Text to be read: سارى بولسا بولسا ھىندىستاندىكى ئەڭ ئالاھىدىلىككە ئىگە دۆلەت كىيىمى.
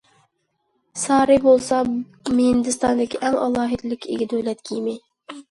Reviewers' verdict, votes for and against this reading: rejected, 0, 2